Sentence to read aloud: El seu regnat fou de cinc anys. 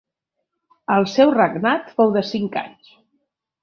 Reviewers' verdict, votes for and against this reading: accepted, 2, 0